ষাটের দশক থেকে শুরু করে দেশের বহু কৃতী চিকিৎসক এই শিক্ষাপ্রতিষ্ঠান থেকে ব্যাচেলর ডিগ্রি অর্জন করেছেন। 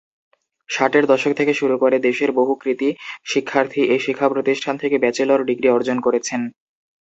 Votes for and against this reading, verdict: 0, 4, rejected